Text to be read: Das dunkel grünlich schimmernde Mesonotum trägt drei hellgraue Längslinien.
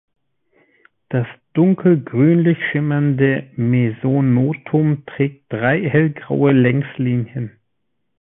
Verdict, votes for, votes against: accepted, 2, 0